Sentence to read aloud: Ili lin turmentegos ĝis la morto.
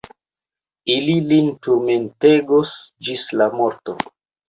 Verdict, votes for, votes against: accepted, 2, 0